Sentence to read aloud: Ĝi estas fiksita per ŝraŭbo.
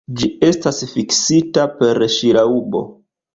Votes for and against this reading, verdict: 0, 2, rejected